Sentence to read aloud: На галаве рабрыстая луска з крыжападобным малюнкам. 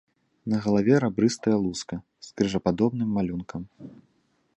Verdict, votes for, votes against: accepted, 2, 0